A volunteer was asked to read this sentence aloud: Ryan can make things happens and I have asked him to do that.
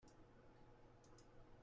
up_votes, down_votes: 0, 2